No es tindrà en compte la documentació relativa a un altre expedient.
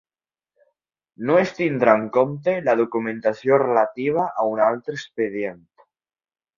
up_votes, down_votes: 2, 0